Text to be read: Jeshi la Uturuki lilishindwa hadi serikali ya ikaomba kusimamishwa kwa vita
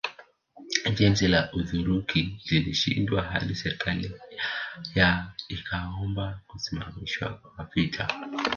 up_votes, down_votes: 1, 2